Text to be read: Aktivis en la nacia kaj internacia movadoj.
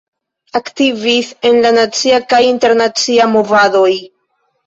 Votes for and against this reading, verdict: 1, 2, rejected